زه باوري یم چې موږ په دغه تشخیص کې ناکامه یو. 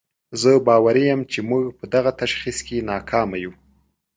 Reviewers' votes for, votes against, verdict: 2, 0, accepted